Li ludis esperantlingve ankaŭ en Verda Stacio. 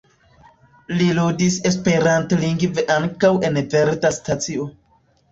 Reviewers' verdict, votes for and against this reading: accepted, 2, 0